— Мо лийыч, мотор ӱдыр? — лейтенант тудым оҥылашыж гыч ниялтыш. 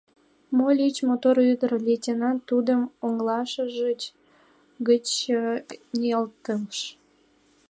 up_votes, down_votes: 1, 2